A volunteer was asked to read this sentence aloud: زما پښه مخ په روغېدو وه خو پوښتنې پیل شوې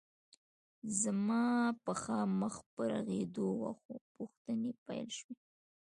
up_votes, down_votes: 2, 1